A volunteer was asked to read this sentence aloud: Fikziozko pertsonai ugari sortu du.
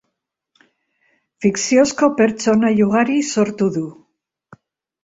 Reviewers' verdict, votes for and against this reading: rejected, 0, 2